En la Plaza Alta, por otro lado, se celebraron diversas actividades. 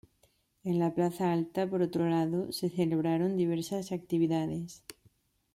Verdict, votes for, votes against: accepted, 2, 0